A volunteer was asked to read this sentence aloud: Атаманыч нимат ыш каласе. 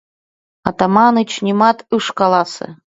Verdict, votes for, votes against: accepted, 2, 0